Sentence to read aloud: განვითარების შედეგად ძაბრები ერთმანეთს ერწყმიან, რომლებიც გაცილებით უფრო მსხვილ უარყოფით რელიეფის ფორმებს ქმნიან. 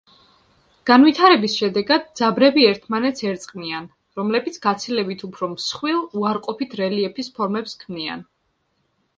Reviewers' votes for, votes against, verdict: 2, 0, accepted